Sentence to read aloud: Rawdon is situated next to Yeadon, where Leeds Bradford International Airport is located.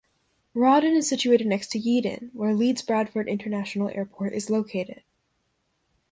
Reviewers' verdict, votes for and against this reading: accepted, 2, 0